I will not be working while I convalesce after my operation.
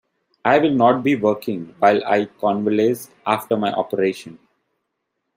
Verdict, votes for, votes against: accepted, 2, 0